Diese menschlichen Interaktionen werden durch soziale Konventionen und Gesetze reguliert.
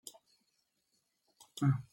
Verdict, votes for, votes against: rejected, 0, 2